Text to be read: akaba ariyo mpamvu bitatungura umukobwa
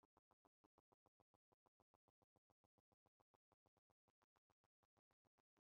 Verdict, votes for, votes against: rejected, 0, 2